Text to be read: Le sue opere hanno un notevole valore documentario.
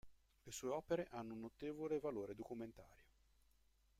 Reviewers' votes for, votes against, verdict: 0, 2, rejected